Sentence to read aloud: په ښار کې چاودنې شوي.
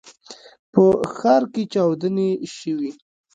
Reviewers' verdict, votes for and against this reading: rejected, 1, 2